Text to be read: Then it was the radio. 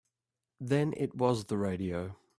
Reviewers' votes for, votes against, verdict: 2, 0, accepted